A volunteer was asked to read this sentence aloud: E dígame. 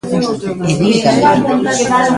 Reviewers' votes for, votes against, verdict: 0, 2, rejected